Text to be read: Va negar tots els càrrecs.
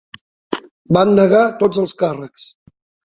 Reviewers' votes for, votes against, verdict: 3, 1, accepted